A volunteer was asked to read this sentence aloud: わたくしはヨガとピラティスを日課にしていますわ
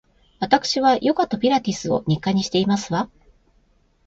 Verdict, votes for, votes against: accepted, 2, 0